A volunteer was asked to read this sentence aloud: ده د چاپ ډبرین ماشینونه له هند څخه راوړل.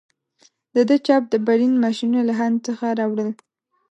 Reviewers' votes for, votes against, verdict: 0, 2, rejected